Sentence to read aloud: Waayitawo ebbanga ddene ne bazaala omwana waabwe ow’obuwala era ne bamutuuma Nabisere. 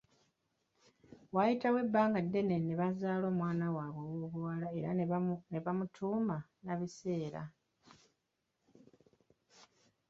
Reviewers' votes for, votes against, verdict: 0, 2, rejected